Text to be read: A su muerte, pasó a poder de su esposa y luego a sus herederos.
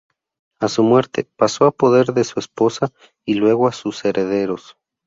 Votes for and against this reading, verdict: 2, 0, accepted